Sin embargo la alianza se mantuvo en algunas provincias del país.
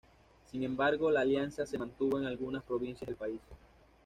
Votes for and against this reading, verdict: 2, 1, accepted